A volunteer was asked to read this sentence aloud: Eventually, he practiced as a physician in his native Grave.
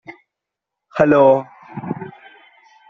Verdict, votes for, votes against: rejected, 0, 2